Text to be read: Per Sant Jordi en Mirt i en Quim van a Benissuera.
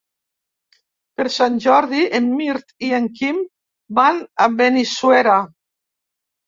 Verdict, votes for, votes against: accepted, 2, 0